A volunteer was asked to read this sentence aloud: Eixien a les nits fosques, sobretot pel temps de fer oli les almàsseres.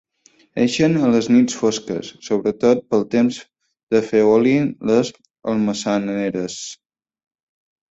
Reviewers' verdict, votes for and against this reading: rejected, 0, 4